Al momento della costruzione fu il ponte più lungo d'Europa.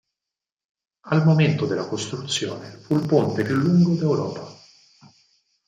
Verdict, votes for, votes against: rejected, 2, 4